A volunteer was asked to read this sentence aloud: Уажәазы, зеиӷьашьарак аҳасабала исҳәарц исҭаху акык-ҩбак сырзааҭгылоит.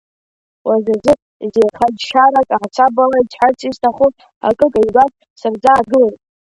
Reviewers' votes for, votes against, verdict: 0, 3, rejected